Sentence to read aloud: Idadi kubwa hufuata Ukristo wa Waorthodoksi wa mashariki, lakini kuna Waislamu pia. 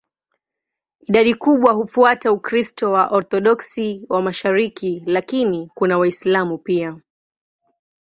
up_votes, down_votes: 8, 0